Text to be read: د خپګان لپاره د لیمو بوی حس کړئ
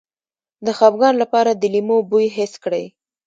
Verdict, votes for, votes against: rejected, 1, 2